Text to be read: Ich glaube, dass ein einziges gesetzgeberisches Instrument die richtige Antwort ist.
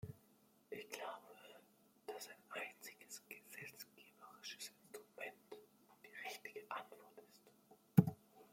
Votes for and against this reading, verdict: 2, 0, accepted